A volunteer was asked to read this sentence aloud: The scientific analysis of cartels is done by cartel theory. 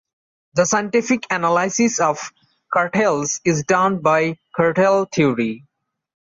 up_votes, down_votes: 2, 0